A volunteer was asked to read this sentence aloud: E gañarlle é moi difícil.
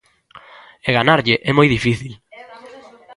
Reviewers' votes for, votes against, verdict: 0, 2, rejected